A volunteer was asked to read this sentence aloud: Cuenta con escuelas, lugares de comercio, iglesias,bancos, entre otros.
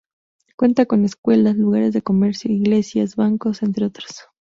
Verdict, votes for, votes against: accepted, 2, 0